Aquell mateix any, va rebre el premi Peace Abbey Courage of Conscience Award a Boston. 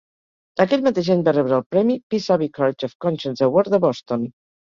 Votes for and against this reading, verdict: 2, 4, rejected